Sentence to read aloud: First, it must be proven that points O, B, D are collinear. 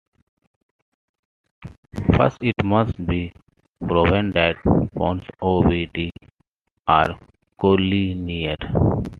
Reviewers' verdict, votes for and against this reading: accepted, 2, 1